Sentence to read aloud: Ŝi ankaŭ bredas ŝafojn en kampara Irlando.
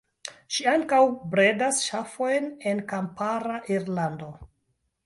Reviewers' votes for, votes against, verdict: 1, 2, rejected